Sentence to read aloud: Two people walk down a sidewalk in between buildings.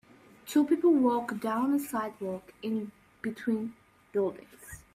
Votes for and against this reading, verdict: 2, 0, accepted